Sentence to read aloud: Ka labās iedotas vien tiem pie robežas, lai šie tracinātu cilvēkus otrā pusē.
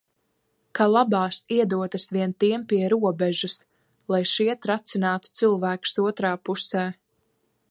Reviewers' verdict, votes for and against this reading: accepted, 2, 0